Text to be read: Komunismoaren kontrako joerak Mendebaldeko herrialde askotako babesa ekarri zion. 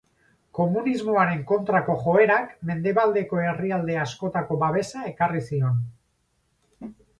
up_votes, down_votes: 4, 0